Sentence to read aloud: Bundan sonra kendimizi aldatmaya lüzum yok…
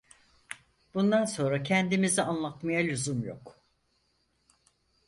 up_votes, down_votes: 0, 4